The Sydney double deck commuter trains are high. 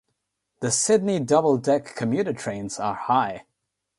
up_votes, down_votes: 3, 0